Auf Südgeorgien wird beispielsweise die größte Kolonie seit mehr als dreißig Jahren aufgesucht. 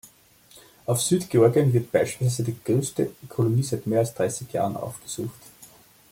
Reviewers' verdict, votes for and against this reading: rejected, 0, 2